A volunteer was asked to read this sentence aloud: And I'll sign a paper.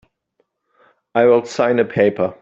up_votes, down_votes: 0, 2